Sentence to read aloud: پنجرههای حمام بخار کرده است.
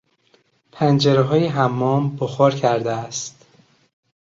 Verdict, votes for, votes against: accepted, 2, 0